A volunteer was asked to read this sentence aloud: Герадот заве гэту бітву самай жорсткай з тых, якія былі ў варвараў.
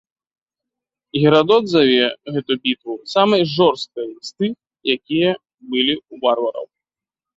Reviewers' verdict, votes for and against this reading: accepted, 2, 0